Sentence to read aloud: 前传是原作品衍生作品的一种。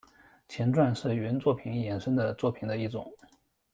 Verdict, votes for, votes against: rejected, 1, 2